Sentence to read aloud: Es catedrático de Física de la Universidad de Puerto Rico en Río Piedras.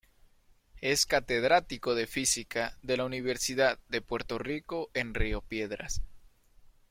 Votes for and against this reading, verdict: 2, 0, accepted